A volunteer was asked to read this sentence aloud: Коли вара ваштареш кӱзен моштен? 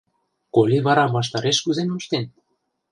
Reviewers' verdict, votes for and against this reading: rejected, 0, 2